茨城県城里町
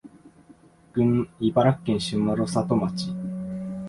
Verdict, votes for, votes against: rejected, 1, 2